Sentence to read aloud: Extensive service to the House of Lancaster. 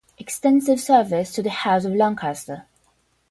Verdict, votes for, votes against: rejected, 0, 5